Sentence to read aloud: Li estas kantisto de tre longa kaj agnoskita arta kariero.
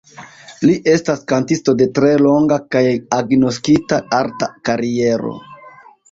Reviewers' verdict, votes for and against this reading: rejected, 0, 2